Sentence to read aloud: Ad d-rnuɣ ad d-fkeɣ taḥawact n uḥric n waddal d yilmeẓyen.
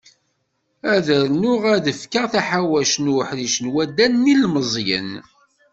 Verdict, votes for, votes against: rejected, 1, 2